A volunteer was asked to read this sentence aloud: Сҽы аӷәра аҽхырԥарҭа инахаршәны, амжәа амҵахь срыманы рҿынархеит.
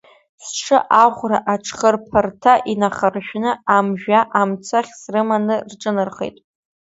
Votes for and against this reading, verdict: 0, 2, rejected